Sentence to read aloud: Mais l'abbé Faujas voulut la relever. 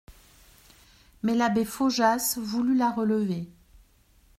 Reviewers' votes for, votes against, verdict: 2, 0, accepted